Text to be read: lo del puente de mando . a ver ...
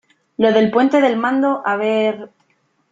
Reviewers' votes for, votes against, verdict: 2, 3, rejected